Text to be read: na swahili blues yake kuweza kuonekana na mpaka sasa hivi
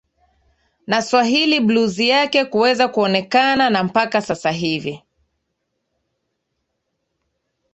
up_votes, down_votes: 2, 1